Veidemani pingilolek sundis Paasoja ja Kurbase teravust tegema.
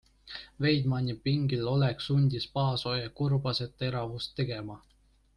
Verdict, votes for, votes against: accepted, 2, 0